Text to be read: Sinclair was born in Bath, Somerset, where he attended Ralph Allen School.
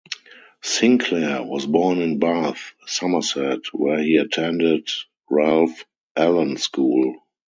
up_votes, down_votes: 2, 0